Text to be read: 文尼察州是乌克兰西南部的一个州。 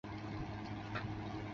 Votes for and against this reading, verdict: 0, 2, rejected